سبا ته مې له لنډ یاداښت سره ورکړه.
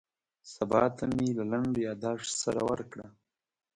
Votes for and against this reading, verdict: 2, 0, accepted